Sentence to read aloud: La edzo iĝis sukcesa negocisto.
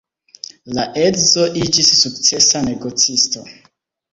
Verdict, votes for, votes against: accepted, 2, 0